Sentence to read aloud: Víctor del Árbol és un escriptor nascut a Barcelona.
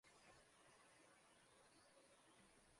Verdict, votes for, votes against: rejected, 0, 2